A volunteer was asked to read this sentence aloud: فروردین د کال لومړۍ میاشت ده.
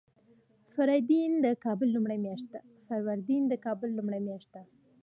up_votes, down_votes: 2, 1